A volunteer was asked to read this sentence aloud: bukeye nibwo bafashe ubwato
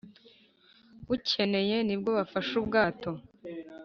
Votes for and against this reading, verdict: 1, 2, rejected